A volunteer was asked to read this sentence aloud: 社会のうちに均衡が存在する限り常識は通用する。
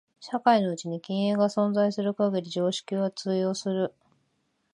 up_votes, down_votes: 2, 1